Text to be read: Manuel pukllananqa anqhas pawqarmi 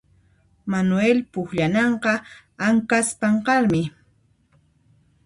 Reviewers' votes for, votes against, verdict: 0, 2, rejected